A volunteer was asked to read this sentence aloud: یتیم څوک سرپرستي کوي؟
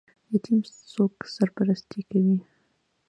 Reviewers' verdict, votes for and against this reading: accepted, 2, 0